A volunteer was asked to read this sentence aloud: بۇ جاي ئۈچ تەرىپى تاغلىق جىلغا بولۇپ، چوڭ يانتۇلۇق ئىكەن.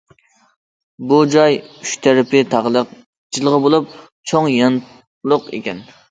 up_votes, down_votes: 1, 2